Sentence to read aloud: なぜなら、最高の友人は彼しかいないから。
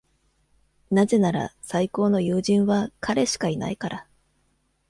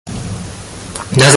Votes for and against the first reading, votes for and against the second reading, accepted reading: 2, 0, 0, 2, first